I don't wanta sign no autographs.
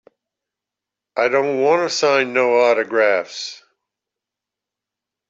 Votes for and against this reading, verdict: 2, 0, accepted